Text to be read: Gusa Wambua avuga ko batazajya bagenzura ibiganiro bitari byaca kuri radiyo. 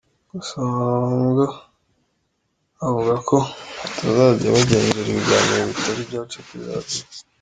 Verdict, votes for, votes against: rejected, 1, 3